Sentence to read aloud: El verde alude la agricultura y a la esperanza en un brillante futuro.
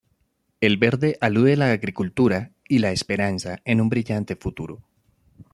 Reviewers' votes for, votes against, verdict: 0, 2, rejected